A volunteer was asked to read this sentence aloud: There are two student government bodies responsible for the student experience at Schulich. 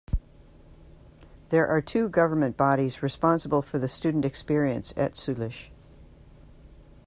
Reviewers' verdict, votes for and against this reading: rejected, 0, 2